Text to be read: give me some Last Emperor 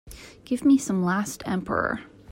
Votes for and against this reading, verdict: 2, 0, accepted